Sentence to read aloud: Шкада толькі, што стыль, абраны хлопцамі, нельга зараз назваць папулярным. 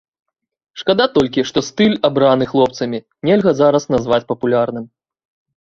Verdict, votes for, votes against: accepted, 2, 0